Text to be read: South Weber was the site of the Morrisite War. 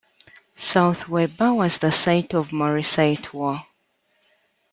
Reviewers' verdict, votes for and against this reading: rejected, 1, 2